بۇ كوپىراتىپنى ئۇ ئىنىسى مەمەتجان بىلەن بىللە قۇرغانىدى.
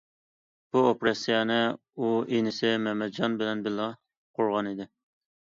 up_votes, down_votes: 0, 2